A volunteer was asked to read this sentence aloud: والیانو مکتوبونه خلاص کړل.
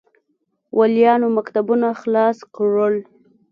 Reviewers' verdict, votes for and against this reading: accepted, 2, 0